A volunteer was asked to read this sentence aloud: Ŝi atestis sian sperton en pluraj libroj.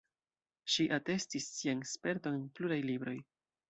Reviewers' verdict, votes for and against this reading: rejected, 0, 2